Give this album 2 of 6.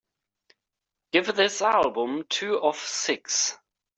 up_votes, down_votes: 0, 2